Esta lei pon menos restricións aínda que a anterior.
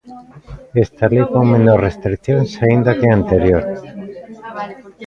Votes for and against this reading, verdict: 0, 2, rejected